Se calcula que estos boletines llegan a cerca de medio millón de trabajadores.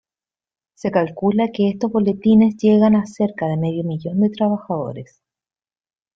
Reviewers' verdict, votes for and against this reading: accepted, 2, 0